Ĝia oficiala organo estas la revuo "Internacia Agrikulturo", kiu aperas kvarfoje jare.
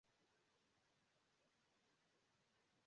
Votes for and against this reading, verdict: 0, 2, rejected